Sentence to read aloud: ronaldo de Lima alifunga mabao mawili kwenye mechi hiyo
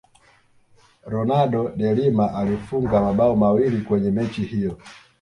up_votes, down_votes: 2, 0